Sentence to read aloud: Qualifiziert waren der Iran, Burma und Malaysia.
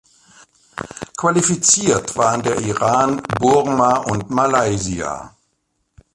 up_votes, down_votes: 2, 0